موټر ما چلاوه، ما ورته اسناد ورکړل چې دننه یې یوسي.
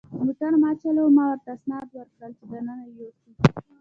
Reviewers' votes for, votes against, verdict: 1, 2, rejected